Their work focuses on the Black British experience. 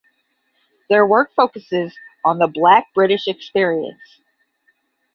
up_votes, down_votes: 10, 0